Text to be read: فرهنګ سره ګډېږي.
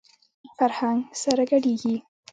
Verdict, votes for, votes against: accepted, 2, 0